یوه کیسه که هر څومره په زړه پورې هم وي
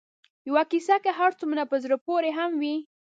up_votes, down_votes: 4, 0